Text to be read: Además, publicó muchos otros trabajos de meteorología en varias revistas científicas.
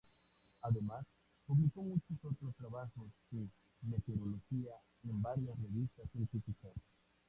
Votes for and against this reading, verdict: 0, 2, rejected